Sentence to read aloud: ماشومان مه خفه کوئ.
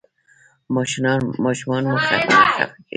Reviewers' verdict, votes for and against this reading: accepted, 2, 0